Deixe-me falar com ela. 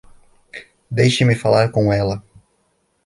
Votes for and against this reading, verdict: 2, 1, accepted